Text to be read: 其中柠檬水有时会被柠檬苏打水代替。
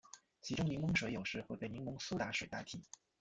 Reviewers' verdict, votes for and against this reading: rejected, 0, 2